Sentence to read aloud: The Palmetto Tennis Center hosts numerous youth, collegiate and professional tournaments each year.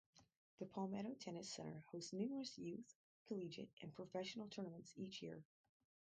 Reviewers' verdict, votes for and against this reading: rejected, 2, 2